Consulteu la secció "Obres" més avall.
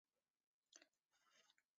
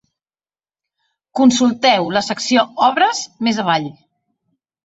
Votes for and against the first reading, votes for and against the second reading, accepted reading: 0, 2, 3, 0, second